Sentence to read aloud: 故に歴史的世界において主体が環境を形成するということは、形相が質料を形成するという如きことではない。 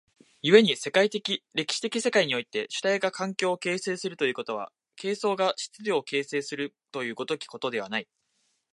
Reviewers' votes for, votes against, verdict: 2, 1, accepted